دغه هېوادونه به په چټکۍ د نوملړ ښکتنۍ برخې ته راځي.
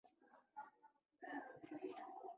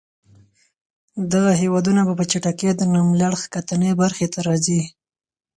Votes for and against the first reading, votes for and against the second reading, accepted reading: 0, 2, 4, 0, second